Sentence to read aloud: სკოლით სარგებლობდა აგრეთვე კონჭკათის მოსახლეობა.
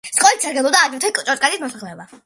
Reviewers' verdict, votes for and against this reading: rejected, 0, 2